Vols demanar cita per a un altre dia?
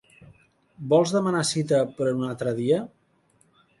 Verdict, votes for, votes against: accepted, 2, 0